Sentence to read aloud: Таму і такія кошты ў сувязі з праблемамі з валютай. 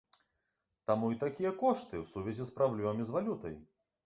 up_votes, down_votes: 5, 0